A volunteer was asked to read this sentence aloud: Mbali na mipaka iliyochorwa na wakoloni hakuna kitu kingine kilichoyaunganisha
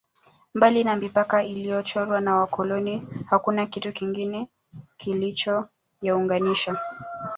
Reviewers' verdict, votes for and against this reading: rejected, 1, 2